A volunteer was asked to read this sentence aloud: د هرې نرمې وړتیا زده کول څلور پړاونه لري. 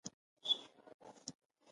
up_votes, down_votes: 0, 2